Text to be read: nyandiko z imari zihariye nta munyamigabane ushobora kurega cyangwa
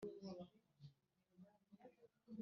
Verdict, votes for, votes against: rejected, 0, 2